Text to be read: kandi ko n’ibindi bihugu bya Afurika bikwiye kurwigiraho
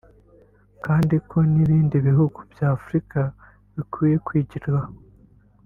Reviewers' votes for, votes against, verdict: 1, 2, rejected